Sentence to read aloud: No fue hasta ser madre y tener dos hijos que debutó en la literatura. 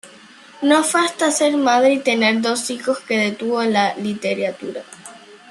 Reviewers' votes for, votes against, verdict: 1, 2, rejected